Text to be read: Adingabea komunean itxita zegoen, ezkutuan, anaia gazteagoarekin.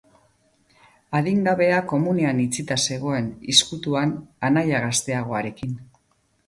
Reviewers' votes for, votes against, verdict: 2, 0, accepted